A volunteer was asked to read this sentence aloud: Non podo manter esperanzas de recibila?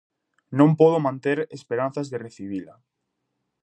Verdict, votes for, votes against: accepted, 2, 0